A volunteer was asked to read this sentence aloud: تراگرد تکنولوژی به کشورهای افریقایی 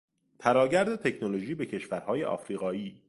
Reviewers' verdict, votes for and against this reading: accepted, 2, 0